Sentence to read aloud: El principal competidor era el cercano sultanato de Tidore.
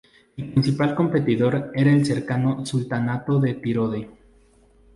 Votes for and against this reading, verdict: 2, 0, accepted